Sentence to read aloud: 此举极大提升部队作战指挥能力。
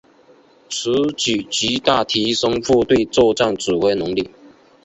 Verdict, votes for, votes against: accepted, 6, 0